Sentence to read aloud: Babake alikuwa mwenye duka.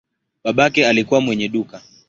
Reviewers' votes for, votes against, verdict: 2, 1, accepted